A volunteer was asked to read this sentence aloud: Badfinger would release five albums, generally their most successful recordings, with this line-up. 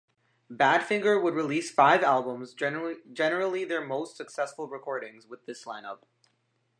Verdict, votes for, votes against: rejected, 0, 2